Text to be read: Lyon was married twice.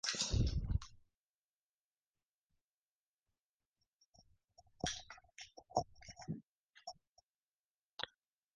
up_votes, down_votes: 0, 2